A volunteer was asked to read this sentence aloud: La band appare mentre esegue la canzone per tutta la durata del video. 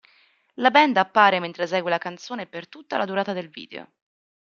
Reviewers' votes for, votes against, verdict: 3, 0, accepted